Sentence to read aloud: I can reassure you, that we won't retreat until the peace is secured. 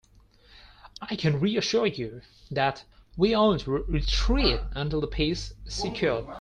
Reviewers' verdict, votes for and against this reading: rejected, 0, 4